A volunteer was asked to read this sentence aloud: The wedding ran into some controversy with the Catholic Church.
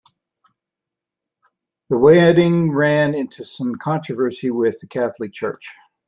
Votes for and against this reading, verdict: 0, 2, rejected